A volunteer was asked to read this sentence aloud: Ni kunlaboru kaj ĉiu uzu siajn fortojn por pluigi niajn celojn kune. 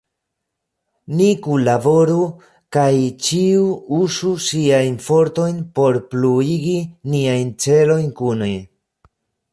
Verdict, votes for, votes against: rejected, 1, 2